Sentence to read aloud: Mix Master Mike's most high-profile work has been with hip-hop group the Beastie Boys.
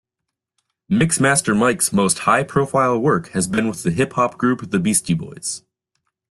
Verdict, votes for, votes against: rejected, 1, 2